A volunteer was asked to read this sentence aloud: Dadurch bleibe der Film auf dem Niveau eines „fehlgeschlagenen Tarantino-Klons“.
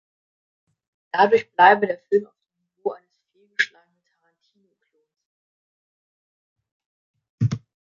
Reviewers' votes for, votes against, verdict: 0, 3, rejected